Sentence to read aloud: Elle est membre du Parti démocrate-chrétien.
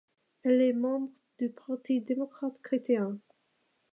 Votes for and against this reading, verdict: 2, 0, accepted